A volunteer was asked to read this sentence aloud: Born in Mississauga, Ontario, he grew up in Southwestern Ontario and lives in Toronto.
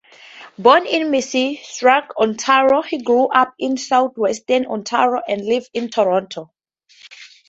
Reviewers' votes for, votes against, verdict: 0, 4, rejected